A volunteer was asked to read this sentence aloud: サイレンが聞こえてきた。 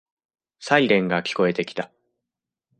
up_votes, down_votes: 2, 0